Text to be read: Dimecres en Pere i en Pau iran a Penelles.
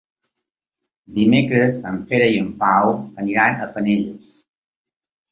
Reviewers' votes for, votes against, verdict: 1, 3, rejected